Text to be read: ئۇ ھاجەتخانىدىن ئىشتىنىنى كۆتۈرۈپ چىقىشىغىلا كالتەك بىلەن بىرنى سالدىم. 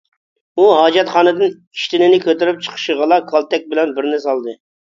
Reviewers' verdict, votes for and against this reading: rejected, 1, 2